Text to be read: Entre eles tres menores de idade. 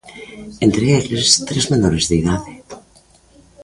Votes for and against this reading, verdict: 0, 2, rejected